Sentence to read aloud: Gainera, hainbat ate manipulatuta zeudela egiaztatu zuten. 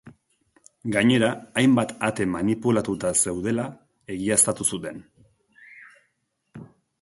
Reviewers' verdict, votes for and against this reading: accepted, 3, 1